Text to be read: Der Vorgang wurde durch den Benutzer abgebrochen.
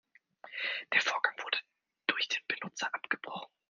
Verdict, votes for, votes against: rejected, 1, 2